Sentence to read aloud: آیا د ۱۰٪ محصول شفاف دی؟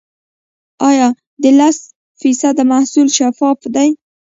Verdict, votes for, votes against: rejected, 0, 2